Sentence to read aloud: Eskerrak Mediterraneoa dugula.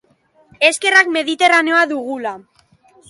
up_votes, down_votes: 3, 0